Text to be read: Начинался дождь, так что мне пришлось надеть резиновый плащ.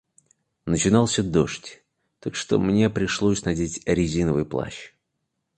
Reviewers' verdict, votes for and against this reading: accepted, 2, 0